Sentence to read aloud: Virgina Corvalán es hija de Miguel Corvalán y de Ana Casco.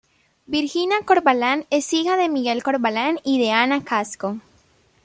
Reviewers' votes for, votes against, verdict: 2, 0, accepted